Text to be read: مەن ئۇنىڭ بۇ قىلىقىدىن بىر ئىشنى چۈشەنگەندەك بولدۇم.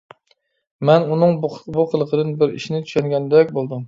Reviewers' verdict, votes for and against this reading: rejected, 1, 2